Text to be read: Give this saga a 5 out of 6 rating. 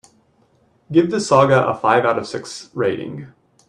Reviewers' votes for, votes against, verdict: 0, 2, rejected